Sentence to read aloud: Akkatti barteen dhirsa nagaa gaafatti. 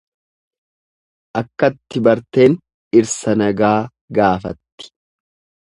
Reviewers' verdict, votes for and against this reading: accepted, 2, 0